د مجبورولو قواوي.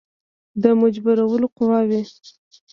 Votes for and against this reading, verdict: 2, 0, accepted